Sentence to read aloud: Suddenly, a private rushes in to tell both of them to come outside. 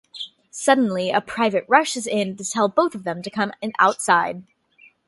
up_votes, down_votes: 0, 2